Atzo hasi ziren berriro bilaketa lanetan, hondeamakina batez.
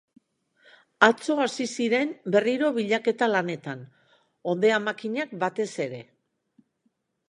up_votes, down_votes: 0, 2